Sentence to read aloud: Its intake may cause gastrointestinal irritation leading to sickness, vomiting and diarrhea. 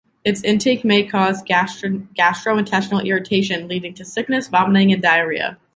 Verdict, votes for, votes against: accepted, 2, 1